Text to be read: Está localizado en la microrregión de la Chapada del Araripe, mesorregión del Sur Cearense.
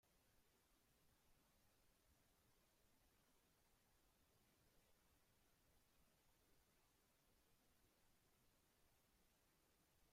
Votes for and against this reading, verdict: 0, 2, rejected